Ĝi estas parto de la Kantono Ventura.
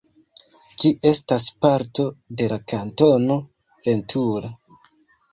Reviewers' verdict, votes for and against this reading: rejected, 1, 2